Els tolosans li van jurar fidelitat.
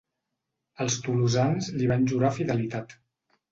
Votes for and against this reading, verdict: 2, 0, accepted